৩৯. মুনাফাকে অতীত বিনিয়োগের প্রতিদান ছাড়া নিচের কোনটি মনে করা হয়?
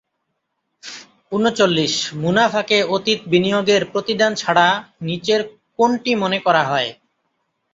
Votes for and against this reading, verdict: 0, 2, rejected